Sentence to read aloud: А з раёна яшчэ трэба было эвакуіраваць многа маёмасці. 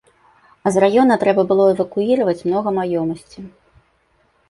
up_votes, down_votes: 0, 2